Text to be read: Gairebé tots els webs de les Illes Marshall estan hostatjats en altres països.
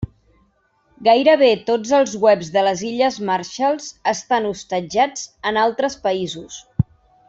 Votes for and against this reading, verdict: 0, 2, rejected